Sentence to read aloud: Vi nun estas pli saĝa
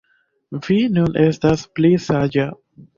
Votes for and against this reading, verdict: 2, 0, accepted